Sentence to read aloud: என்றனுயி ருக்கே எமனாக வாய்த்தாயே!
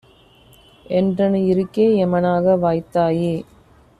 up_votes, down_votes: 2, 1